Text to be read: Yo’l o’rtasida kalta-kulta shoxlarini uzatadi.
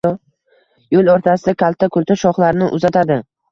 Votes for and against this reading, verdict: 2, 0, accepted